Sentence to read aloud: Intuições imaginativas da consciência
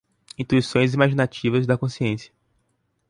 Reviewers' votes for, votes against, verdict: 2, 4, rejected